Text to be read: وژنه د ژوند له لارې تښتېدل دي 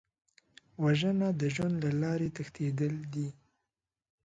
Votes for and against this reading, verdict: 2, 0, accepted